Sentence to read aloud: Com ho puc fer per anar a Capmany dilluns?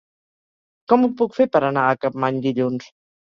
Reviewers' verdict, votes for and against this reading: accepted, 4, 0